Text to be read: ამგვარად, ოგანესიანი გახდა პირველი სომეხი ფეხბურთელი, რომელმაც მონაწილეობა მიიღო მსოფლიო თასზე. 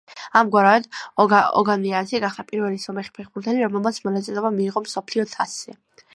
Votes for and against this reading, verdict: 0, 2, rejected